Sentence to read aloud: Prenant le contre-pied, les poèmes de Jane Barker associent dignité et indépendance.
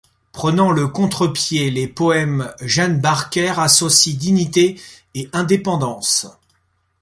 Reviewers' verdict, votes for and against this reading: rejected, 0, 2